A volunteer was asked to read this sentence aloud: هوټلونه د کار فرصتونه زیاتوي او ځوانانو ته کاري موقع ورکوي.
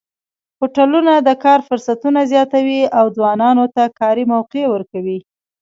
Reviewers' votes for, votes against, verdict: 2, 0, accepted